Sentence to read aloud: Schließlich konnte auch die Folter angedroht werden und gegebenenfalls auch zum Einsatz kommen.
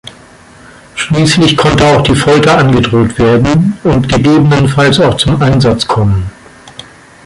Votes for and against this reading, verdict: 0, 2, rejected